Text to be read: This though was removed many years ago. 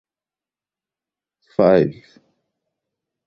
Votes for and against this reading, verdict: 0, 2, rejected